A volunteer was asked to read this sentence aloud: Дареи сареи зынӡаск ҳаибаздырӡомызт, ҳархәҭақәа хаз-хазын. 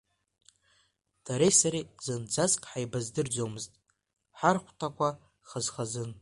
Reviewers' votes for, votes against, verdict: 2, 1, accepted